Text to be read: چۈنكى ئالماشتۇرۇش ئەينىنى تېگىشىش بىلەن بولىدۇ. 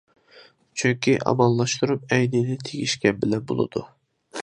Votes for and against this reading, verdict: 0, 2, rejected